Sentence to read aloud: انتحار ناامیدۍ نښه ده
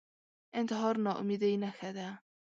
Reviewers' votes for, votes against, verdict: 2, 0, accepted